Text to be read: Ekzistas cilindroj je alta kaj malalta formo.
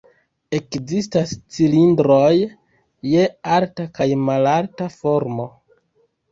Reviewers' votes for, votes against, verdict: 1, 2, rejected